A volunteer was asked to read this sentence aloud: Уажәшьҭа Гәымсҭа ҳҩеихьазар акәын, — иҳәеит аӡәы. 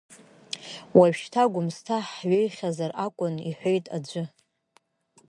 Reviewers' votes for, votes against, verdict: 2, 0, accepted